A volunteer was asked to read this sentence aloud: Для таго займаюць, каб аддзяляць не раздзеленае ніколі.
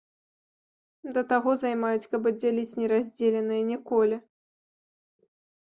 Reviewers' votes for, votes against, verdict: 1, 2, rejected